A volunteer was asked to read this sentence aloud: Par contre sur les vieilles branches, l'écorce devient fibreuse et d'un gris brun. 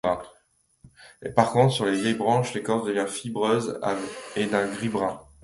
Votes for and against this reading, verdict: 0, 2, rejected